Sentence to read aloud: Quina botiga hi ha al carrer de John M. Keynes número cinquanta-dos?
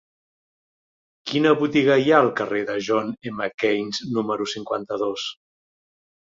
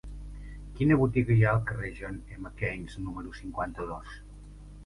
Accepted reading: first